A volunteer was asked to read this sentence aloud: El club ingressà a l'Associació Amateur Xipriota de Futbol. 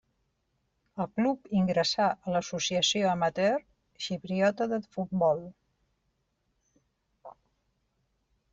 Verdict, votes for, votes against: accepted, 2, 0